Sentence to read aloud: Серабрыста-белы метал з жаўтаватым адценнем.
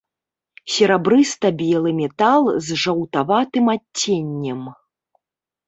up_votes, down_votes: 1, 2